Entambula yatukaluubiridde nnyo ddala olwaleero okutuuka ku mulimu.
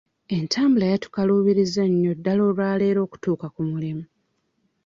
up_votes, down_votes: 1, 2